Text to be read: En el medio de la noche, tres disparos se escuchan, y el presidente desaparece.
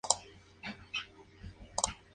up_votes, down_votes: 0, 4